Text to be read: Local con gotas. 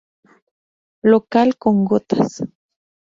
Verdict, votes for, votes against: accepted, 2, 0